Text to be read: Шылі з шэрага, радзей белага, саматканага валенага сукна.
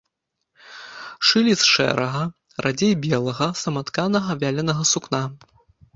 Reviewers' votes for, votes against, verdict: 0, 2, rejected